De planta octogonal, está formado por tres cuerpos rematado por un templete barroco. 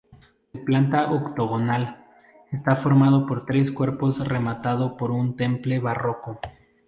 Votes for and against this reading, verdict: 0, 2, rejected